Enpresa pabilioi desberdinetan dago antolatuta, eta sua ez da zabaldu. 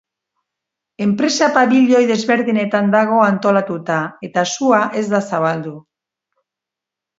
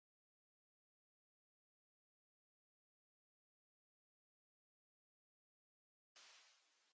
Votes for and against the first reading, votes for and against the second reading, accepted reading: 2, 0, 0, 2, first